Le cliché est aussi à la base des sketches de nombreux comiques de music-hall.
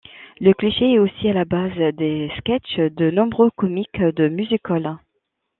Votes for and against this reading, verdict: 2, 0, accepted